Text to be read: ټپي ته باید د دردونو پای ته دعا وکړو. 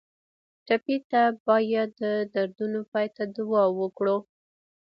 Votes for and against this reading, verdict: 1, 2, rejected